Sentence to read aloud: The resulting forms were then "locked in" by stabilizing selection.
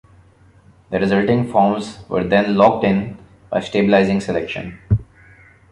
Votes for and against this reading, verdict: 2, 0, accepted